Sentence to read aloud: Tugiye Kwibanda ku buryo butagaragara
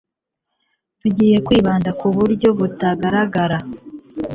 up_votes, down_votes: 2, 0